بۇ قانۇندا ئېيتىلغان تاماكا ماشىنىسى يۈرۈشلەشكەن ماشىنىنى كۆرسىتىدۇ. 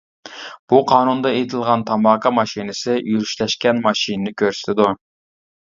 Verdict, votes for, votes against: accepted, 2, 0